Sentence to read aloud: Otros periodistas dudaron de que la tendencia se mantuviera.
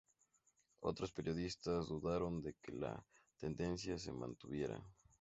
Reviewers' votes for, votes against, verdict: 2, 0, accepted